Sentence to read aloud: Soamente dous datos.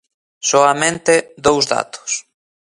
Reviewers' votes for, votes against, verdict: 2, 0, accepted